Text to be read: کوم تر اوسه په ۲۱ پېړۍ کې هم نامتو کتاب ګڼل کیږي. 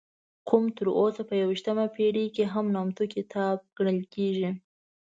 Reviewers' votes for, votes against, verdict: 0, 2, rejected